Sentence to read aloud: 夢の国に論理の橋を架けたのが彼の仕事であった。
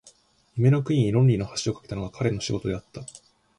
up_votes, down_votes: 2, 0